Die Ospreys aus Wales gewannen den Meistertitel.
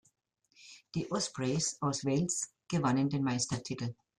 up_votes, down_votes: 2, 0